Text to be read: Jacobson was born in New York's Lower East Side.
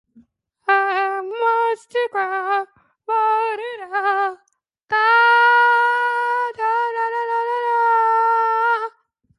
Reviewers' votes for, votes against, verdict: 0, 2, rejected